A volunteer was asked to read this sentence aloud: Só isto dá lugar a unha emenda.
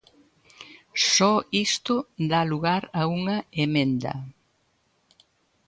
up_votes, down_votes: 2, 0